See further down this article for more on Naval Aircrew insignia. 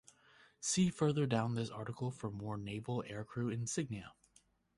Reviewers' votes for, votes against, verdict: 1, 4, rejected